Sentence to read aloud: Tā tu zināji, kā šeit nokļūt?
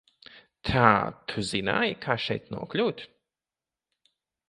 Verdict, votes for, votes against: accepted, 2, 0